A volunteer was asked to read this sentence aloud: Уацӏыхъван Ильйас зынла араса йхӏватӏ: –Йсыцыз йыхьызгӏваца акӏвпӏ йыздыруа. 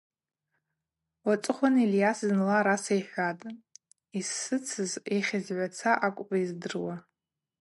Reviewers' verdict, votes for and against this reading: accepted, 2, 0